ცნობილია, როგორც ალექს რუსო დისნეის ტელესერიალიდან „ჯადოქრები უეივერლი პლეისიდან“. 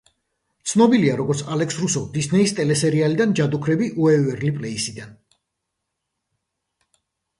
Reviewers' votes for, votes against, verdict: 2, 0, accepted